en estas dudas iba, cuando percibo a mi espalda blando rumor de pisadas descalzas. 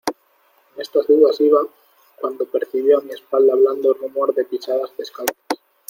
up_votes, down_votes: 1, 2